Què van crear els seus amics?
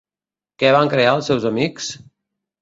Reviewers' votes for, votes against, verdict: 2, 0, accepted